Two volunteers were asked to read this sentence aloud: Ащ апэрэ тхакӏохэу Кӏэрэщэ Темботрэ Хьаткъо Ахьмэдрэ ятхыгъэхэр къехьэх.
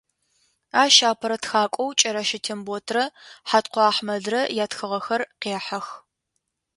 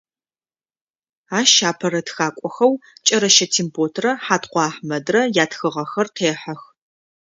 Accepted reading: second